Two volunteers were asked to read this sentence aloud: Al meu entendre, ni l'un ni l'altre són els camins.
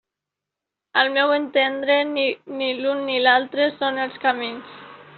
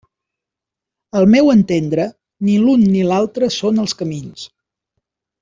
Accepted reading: second